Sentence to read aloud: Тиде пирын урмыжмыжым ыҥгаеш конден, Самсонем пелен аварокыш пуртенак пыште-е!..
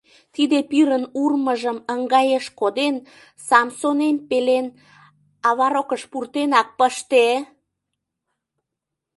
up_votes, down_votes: 0, 2